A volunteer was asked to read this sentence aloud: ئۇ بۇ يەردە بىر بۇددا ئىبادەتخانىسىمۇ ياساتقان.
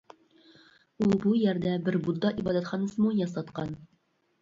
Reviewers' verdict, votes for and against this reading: accepted, 2, 0